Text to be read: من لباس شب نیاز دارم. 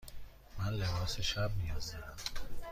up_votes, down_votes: 2, 0